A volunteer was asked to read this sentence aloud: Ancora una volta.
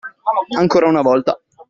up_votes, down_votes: 2, 0